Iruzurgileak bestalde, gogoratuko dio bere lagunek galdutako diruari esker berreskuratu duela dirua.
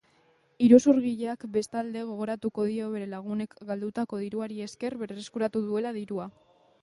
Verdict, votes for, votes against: accepted, 2, 0